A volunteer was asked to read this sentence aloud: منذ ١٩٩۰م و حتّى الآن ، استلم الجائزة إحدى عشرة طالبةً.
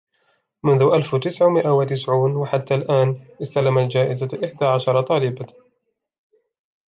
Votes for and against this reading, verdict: 0, 2, rejected